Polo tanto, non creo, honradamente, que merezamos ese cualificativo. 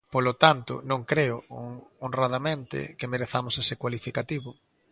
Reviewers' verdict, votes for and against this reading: rejected, 0, 2